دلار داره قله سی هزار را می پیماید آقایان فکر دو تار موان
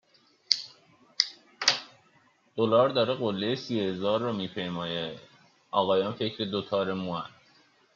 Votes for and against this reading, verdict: 1, 2, rejected